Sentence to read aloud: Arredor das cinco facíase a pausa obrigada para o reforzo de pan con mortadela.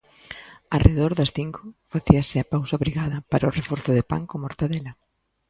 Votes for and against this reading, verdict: 2, 0, accepted